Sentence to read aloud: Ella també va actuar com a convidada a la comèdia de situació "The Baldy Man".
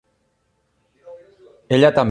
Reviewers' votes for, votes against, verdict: 0, 2, rejected